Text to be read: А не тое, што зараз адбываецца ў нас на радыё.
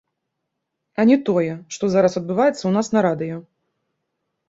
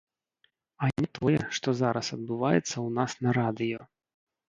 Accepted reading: first